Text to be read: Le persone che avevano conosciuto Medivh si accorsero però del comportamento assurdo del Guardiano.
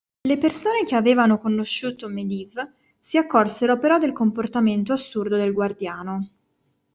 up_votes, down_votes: 3, 0